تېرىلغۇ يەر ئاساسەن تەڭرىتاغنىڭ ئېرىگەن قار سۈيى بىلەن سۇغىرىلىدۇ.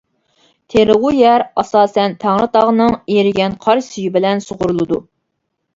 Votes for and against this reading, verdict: 2, 1, accepted